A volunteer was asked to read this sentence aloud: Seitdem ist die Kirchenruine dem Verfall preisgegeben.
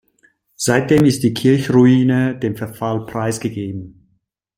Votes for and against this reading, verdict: 1, 2, rejected